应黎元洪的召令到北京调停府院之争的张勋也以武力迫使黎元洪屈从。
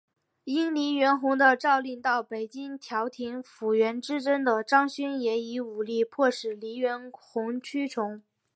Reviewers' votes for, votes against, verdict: 3, 0, accepted